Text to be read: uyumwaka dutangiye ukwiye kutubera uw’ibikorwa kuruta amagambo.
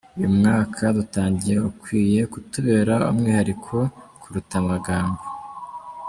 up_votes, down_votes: 0, 2